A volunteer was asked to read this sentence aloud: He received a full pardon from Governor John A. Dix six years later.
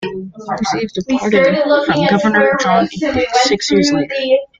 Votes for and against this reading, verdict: 0, 2, rejected